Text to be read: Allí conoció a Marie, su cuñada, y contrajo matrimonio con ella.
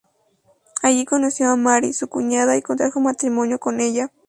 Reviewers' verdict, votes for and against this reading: accepted, 2, 0